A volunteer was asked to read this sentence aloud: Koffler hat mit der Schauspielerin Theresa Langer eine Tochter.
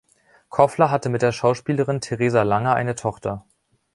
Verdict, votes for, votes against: rejected, 1, 2